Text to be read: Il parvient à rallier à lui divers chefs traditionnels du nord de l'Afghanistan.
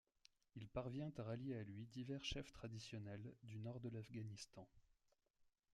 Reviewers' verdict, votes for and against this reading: accepted, 2, 1